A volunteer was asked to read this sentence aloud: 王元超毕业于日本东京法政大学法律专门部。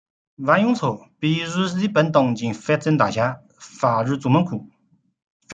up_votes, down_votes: 1, 2